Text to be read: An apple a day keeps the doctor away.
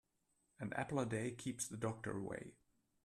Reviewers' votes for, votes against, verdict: 2, 1, accepted